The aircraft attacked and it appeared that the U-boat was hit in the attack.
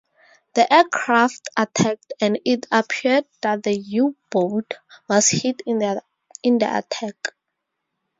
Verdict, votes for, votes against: rejected, 2, 2